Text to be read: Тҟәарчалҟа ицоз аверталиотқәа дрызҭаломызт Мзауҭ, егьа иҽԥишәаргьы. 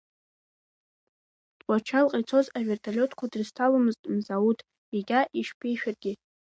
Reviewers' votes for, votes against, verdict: 2, 0, accepted